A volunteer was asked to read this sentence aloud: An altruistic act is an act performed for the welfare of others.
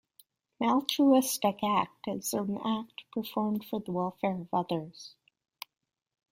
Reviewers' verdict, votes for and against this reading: rejected, 1, 2